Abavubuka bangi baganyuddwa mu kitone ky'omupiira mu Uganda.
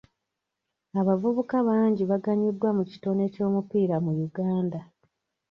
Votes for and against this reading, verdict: 2, 0, accepted